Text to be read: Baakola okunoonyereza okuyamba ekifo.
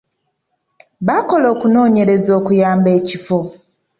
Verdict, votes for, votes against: accepted, 2, 0